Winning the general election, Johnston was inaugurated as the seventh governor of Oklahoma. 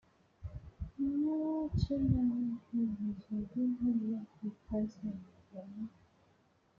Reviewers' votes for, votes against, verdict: 0, 2, rejected